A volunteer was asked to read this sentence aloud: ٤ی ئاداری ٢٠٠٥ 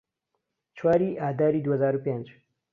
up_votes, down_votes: 0, 2